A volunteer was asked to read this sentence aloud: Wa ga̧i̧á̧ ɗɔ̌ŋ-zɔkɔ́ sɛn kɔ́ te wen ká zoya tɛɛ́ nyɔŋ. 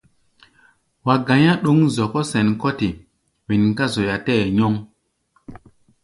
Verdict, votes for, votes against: accepted, 2, 0